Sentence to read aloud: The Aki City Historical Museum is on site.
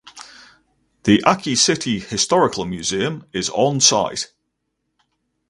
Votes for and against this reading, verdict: 2, 2, rejected